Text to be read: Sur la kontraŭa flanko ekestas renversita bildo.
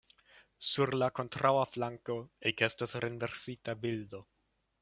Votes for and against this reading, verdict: 2, 0, accepted